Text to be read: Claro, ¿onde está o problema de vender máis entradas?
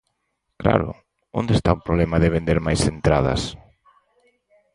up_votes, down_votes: 4, 0